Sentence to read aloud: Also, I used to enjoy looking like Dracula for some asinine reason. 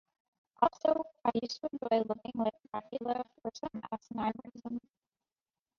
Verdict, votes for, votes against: rejected, 0, 2